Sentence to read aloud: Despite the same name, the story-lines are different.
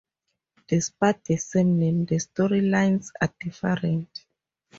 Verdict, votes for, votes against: rejected, 2, 2